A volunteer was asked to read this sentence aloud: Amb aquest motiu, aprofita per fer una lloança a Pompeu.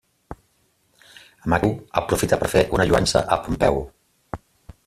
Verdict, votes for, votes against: rejected, 0, 2